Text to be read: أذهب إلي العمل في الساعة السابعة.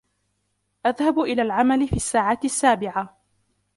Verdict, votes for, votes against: rejected, 1, 2